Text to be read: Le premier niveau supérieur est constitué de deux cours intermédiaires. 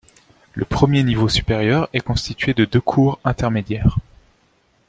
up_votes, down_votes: 2, 0